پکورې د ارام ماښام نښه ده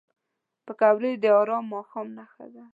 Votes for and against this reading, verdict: 2, 0, accepted